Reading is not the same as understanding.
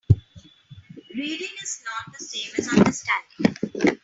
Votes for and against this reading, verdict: 2, 0, accepted